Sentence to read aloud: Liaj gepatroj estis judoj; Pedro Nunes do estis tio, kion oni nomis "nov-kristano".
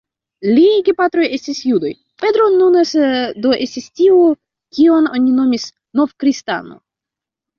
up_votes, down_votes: 0, 2